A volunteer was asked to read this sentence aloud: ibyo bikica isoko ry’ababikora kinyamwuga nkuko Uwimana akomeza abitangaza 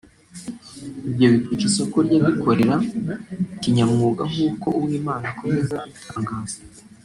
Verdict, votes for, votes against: rejected, 1, 2